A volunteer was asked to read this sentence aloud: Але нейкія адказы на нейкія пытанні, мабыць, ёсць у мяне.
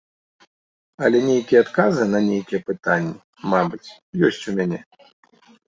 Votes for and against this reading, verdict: 2, 0, accepted